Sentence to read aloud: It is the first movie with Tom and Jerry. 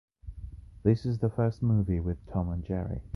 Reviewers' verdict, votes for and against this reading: rejected, 1, 2